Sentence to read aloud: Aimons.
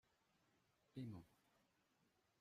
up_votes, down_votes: 0, 2